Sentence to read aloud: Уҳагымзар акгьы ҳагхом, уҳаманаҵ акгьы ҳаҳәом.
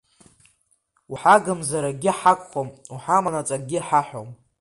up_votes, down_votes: 2, 0